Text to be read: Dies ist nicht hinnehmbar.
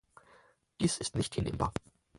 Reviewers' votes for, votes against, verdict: 4, 0, accepted